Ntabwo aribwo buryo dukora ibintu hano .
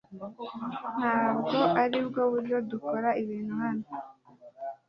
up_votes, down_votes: 2, 0